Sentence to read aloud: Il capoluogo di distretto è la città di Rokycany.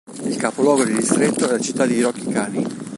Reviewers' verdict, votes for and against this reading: rejected, 0, 2